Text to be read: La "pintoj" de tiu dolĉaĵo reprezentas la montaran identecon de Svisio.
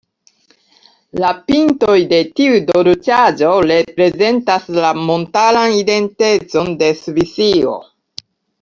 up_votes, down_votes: 1, 2